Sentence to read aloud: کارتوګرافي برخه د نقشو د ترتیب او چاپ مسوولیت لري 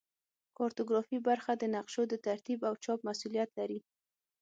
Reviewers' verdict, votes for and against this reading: accepted, 6, 0